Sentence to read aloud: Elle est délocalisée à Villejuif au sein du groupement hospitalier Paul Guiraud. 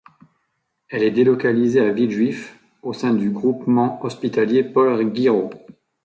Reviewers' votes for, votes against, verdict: 1, 2, rejected